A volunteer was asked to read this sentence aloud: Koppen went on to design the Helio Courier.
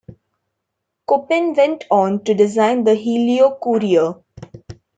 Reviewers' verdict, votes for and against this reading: accepted, 2, 0